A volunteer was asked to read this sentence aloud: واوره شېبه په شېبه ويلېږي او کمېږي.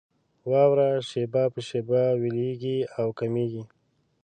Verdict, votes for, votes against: accepted, 3, 0